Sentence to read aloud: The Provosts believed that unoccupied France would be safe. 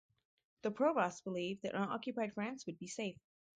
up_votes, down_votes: 4, 0